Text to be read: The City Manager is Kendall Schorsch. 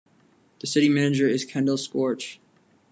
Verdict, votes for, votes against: rejected, 1, 2